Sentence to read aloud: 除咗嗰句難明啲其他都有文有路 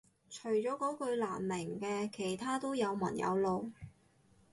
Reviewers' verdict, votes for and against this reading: rejected, 0, 4